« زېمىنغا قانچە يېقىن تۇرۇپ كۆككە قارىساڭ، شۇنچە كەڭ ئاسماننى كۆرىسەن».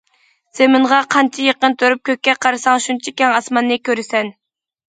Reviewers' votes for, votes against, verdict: 2, 0, accepted